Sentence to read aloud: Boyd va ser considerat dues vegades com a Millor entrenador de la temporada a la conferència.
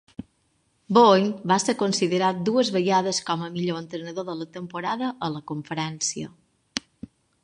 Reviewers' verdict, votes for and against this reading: accepted, 2, 0